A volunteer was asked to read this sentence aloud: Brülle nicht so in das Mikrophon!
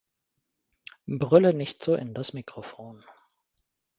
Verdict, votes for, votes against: rejected, 1, 2